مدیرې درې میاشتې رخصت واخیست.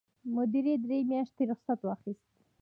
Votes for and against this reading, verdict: 2, 0, accepted